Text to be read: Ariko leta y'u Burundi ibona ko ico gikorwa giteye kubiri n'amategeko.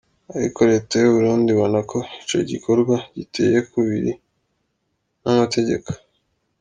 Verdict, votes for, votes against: accepted, 2, 0